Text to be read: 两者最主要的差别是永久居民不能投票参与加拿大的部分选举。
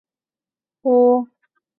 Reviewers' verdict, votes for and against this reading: rejected, 0, 2